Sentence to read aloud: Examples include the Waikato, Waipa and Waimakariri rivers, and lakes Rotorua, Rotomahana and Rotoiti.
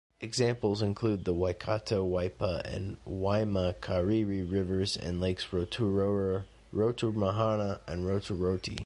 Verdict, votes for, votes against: rejected, 0, 2